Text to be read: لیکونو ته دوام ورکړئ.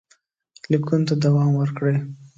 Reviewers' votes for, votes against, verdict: 2, 0, accepted